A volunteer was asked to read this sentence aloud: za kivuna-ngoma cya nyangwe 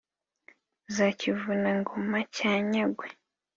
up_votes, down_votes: 2, 0